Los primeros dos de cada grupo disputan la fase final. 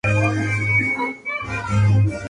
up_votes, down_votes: 0, 2